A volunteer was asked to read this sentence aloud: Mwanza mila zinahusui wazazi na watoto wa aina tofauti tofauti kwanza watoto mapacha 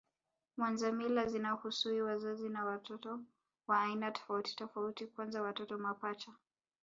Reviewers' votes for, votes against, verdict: 2, 3, rejected